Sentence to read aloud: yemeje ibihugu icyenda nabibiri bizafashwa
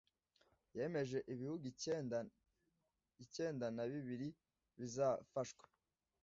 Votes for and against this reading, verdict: 1, 2, rejected